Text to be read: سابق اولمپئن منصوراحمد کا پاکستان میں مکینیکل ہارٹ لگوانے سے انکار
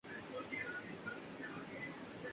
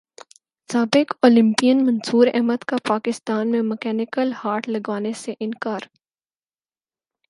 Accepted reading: second